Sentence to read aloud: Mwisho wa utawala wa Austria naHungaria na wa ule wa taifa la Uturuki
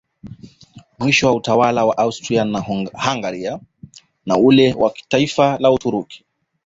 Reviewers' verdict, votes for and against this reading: accepted, 2, 1